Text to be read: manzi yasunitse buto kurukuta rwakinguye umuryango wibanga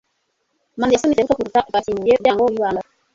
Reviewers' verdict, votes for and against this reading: rejected, 0, 2